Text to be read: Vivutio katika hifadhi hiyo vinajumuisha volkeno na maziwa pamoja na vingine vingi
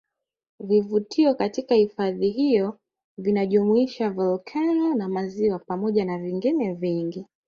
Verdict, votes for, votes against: accepted, 3, 1